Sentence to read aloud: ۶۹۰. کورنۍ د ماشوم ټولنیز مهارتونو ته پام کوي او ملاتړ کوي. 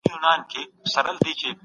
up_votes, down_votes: 0, 2